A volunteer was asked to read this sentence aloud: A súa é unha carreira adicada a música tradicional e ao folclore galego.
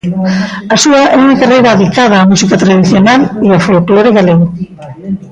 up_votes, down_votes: 0, 2